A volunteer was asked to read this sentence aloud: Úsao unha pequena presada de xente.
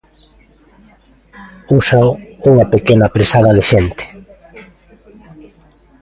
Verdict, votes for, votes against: rejected, 1, 2